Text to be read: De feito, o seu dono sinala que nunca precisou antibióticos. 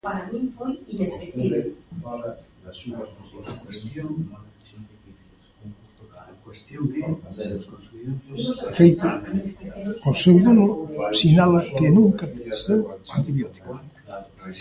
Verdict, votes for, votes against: rejected, 0, 2